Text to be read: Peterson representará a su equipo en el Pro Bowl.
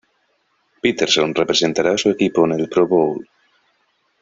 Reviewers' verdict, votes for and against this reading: accepted, 2, 0